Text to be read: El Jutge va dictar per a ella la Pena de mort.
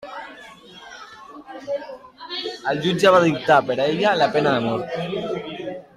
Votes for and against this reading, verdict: 2, 1, accepted